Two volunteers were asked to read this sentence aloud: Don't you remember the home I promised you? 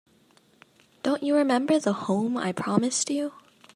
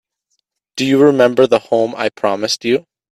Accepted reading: first